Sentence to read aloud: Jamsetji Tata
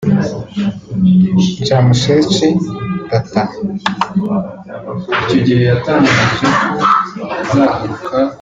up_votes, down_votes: 0, 2